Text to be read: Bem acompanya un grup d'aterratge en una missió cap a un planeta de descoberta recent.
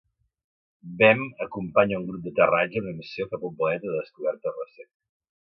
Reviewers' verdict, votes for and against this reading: accepted, 2, 0